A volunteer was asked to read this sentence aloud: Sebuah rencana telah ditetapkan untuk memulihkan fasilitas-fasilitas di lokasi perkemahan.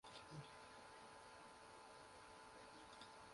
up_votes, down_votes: 0, 2